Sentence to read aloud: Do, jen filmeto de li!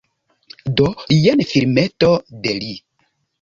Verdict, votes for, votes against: accepted, 2, 0